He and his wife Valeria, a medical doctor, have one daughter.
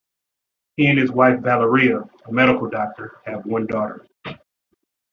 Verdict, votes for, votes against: accepted, 2, 0